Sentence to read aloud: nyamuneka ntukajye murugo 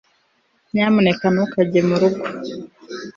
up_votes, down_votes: 3, 0